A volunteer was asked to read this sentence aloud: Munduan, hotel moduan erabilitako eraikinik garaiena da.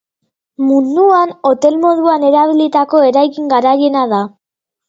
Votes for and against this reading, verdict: 1, 2, rejected